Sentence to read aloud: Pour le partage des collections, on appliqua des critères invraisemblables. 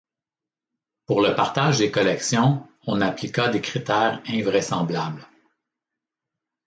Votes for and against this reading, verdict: 2, 0, accepted